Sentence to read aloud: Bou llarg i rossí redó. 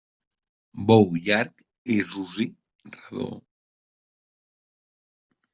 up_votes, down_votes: 0, 2